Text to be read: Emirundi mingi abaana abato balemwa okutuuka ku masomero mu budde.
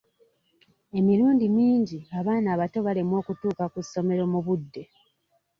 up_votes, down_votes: 1, 2